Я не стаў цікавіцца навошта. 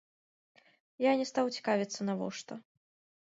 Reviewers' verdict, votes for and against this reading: rejected, 0, 3